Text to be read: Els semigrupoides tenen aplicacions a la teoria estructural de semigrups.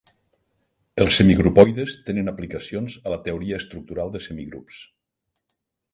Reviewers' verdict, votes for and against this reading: accepted, 3, 0